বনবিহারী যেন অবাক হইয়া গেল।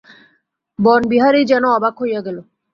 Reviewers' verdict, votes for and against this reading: accepted, 2, 0